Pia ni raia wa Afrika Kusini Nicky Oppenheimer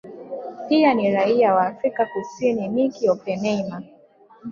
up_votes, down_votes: 2, 0